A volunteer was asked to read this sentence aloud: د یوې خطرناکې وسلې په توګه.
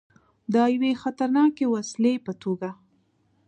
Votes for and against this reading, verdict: 2, 0, accepted